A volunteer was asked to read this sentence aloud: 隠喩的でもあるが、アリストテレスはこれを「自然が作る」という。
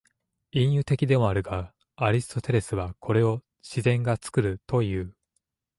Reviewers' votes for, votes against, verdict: 2, 0, accepted